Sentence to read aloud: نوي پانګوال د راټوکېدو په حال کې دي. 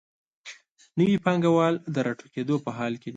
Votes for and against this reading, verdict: 2, 0, accepted